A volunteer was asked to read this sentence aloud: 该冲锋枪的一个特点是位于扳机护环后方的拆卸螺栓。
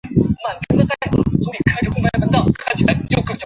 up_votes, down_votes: 0, 4